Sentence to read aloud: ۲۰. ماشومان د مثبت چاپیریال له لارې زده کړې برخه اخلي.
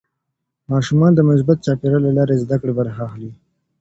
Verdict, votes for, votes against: rejected, 0, 2